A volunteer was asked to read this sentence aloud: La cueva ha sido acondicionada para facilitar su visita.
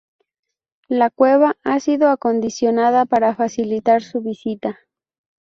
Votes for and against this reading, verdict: 4, 0, accepted